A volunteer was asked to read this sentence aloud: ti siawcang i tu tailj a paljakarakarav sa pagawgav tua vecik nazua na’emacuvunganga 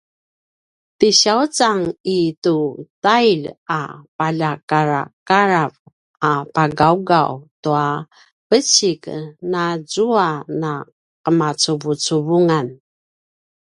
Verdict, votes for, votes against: rejected, 0, 2